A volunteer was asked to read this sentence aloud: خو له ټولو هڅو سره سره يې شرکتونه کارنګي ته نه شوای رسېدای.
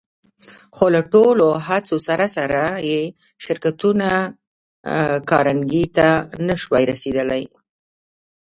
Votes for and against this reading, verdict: 1, 2, rejected